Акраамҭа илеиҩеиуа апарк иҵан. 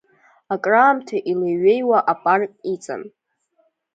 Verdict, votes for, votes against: accepted, 2, 0